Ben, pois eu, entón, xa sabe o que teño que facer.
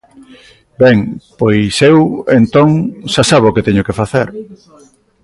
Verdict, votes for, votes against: rejected, 0, 2